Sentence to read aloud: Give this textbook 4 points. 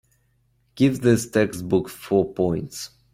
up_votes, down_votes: 0, 2